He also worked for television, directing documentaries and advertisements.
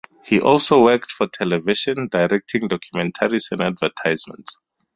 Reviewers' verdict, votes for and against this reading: accepted, 2, 0